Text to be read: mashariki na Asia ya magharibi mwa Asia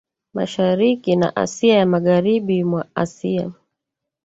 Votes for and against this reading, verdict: 1, 2, rejected